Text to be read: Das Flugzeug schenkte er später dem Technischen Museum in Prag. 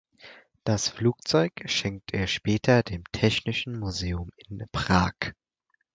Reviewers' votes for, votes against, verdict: 2, 4, rejected